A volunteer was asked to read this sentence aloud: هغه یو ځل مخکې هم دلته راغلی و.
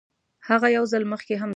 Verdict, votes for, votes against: rejected, 1, 3